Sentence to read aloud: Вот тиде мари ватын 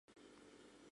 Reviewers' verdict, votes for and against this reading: rejected, 0, 2